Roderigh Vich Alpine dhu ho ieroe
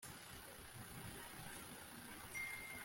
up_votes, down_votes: 0, 2